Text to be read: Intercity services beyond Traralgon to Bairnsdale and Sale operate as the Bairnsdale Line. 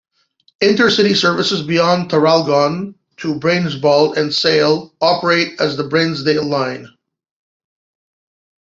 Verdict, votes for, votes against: accepted, 2, 0